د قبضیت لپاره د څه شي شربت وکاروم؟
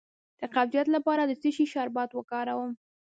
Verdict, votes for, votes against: rejected, 0, 2